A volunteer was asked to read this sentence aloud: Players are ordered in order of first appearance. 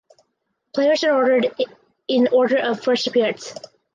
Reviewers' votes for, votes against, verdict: 4, 0, accepted